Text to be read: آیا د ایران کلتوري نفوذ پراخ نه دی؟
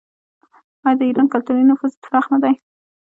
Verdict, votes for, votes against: rejected, 1, 2